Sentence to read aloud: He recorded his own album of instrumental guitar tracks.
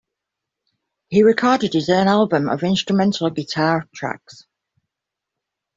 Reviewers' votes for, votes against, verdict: 2, 0, accepted